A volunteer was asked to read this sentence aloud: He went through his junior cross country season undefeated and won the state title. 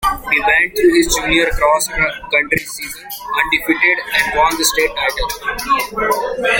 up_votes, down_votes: 1, 2